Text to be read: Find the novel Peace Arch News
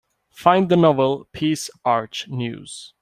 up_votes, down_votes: 2, 0